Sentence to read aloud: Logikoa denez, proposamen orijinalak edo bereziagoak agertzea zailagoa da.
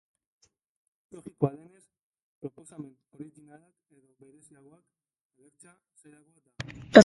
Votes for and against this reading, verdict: 0, 3, rejected